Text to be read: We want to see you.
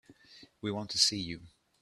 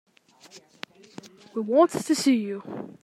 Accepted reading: first